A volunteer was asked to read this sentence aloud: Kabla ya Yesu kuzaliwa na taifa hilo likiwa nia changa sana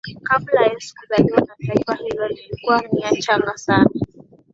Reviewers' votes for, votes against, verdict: 2, 0, accepted